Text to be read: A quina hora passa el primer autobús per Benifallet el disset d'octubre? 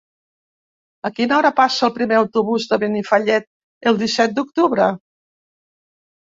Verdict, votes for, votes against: rejected, 1, 2